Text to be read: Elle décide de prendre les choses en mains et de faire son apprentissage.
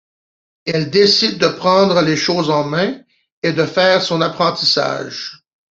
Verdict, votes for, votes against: accepted, 2, 0